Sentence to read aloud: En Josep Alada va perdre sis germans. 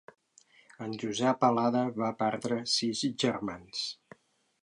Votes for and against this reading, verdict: 1, 2, rejected